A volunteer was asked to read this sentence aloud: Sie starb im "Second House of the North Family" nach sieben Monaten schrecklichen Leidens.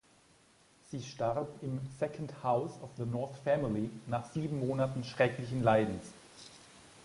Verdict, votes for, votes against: accepted, 2, 0